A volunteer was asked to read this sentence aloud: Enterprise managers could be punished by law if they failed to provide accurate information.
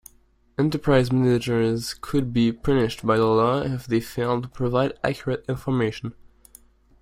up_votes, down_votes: 1, 2